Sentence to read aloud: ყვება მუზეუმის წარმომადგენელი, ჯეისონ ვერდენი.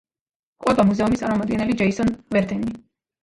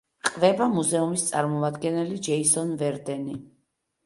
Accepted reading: second